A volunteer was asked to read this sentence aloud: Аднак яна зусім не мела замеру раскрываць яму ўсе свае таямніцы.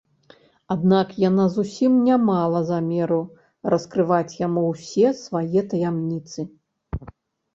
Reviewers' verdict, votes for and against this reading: rejected, 1, 2